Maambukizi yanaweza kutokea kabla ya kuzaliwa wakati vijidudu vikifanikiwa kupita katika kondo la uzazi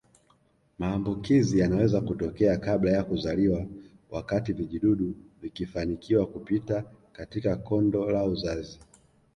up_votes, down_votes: 2, 0